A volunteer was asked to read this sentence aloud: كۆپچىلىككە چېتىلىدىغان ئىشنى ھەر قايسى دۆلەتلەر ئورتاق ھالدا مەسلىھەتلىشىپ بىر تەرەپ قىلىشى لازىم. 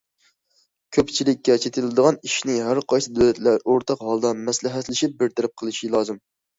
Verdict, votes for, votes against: accepted, 2, 0